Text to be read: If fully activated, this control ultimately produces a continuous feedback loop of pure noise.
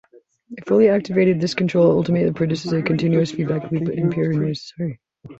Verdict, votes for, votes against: rejected, 0, 2